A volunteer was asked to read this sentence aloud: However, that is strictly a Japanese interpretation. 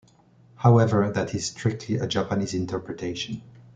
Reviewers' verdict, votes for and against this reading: accepted, 2, 0